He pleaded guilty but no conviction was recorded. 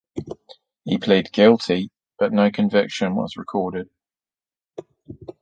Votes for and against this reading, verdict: 1, 2, rejected